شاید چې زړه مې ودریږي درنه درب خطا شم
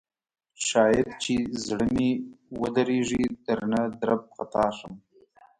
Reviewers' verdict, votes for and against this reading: rejected, 0, 2